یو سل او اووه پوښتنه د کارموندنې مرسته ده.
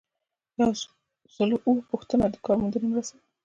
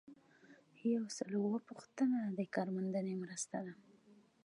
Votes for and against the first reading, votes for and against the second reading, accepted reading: 0, 2, 2, 1, second